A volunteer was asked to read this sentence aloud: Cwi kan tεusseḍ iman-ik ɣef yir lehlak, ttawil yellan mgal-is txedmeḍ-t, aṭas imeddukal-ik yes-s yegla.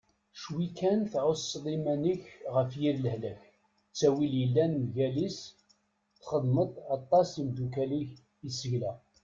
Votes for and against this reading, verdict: 1, 2, rejected